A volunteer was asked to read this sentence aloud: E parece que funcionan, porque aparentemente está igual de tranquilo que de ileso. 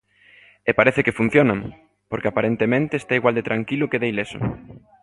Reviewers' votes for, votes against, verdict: 2, 0, accepted